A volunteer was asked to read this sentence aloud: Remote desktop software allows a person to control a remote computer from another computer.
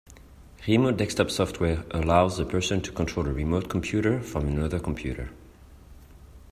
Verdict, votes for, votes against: accepted, 2, 1